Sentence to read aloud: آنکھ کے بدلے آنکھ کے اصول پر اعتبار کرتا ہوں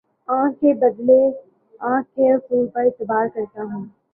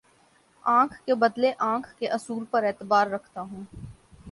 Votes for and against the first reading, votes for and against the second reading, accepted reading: 2, 1, 2, 2, first